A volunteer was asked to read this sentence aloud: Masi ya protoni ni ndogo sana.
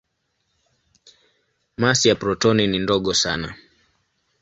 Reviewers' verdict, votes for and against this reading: accepted, 2, 0